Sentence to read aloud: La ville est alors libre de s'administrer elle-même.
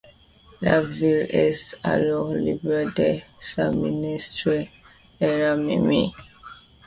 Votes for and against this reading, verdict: 2, 1, accepted